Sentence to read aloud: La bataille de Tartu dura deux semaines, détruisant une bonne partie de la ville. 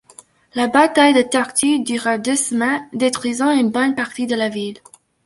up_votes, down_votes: 1, 2